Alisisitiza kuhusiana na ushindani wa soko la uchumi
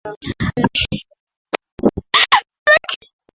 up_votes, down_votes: 0, 3